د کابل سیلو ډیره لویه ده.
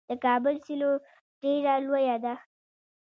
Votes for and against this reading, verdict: 1, 2, rejected